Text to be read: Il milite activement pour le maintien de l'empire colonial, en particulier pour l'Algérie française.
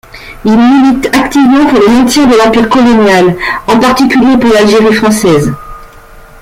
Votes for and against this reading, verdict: 0, 2, rejected